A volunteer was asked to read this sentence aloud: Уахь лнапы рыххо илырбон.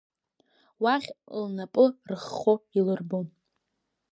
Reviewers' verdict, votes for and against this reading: accepted, 2, 1